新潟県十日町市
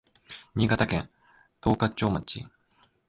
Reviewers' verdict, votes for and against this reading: rejected, 1, 2